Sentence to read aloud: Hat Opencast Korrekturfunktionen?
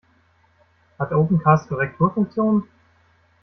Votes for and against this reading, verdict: 2, 0, accepted